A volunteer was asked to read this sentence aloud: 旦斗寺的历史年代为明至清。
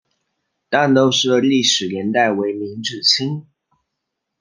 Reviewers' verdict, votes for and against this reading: accepted, 2, 0